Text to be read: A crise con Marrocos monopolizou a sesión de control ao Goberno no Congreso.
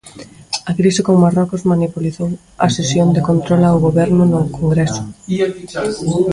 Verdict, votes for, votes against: rejected, 0, 3